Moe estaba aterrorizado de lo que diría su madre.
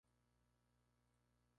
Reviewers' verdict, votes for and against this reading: rejected, 0, 2